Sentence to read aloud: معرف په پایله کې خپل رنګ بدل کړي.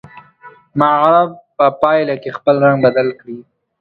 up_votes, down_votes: 1, 2